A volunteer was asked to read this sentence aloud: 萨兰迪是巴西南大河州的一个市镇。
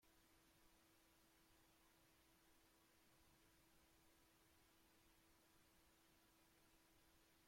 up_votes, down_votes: 0, 2